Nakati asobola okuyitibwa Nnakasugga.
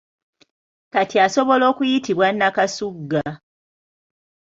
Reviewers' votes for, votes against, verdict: 0, 2, rejected